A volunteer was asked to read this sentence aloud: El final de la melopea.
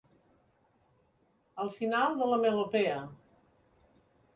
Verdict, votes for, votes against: accepted, 2, 0